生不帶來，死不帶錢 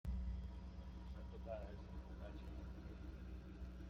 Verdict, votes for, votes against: rejected, 0, 2